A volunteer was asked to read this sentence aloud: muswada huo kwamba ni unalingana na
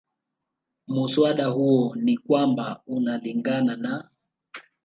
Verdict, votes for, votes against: rejected, 0, 2